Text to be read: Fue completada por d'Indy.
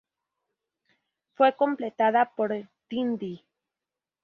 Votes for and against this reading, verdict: 2, 2, rejected